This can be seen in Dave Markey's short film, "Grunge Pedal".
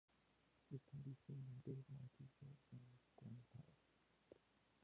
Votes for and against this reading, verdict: 0, 2, rejected